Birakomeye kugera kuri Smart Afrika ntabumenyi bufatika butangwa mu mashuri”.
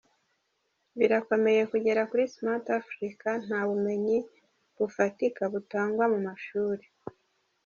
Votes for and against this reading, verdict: 0, 2, rejected